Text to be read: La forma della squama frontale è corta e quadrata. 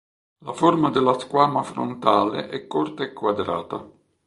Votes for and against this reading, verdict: 2, 0, accepted